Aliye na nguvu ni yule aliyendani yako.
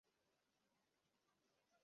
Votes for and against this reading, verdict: 0, 2, rejected